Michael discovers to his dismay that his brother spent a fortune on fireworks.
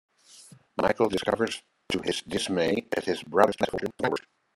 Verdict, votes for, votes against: rejected, 1, 2